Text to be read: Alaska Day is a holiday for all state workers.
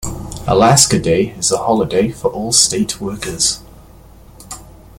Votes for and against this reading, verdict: 2, 0, accepted